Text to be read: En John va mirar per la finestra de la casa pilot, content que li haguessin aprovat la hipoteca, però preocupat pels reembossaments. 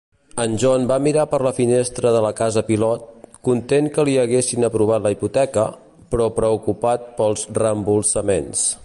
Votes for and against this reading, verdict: 0, 2, rejected